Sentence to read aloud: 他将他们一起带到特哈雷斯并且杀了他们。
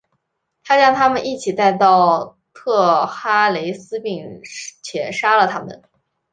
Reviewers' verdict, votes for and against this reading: accepted, 2, 0